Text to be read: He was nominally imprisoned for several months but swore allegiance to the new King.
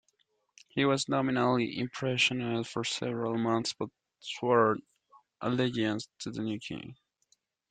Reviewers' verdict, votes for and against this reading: rejected, 1, 2